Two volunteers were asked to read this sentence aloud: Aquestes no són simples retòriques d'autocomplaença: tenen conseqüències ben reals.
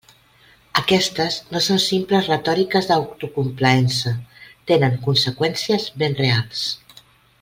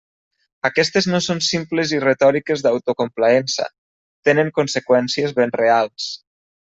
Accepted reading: first